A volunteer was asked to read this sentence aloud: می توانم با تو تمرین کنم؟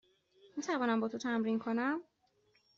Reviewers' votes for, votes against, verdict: 2, 0, accepted